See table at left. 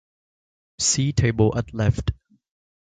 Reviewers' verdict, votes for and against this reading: accepted, 2, 1